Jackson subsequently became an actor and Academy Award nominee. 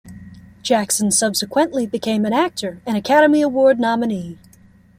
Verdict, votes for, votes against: accepted, 2, 0